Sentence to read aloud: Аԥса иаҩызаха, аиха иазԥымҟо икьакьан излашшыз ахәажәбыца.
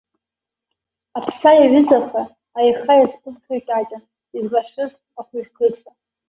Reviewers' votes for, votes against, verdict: 0, 2, rejected